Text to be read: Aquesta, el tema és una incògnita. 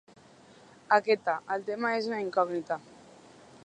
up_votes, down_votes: 1, 2